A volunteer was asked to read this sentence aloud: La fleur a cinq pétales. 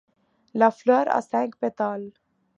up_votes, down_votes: 2, 0